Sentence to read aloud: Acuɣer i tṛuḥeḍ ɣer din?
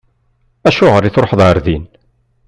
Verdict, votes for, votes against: accepted, 2, 0